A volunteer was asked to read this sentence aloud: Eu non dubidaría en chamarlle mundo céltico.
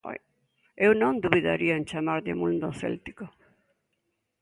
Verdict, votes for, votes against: accepted, 3, 0